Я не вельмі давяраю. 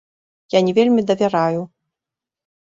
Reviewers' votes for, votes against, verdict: 1, 2, rejected